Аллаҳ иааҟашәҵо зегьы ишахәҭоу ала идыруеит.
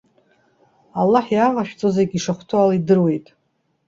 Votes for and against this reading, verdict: 2, 0, accepted